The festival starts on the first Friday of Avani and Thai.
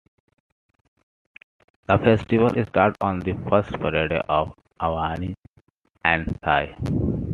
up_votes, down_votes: 2, 0